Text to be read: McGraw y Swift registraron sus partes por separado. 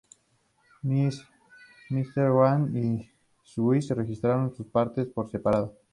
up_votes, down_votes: 0, 2